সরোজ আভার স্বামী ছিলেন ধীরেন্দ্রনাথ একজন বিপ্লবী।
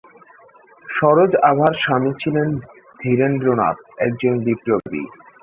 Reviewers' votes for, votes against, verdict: 1, 2, rejected